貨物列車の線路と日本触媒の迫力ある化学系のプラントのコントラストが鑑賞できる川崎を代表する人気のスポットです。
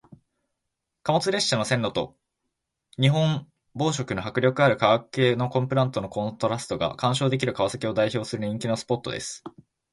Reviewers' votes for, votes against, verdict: 0, 2, rejected